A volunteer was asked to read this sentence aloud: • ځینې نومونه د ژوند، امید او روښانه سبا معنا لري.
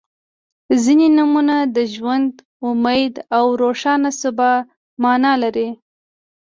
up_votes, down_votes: 2, 0